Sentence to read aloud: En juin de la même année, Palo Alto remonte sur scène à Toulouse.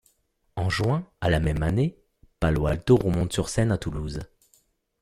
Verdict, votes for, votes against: rejected, 1, 2